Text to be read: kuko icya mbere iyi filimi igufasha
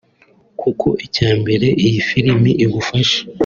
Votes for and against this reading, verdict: 2, 0, accepted